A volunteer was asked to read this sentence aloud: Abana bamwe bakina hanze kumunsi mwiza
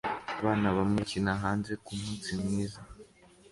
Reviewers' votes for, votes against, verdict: 2, 0, accepted